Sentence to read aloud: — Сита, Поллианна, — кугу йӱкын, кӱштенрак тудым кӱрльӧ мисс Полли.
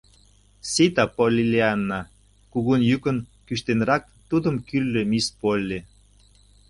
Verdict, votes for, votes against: accepted, 2, 0